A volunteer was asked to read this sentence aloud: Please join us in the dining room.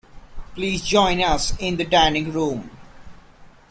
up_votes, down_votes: 2, 0